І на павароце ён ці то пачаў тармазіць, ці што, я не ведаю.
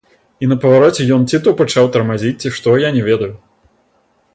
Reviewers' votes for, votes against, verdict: 0, 2, rejected